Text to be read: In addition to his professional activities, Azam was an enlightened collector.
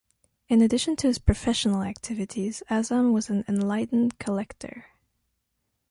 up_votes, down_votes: 2, 0